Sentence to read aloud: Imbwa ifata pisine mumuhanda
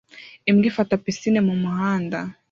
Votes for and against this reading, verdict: 2, 0, accepted